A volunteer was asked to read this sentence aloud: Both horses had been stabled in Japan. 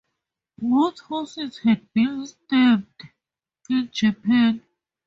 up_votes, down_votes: 2, 0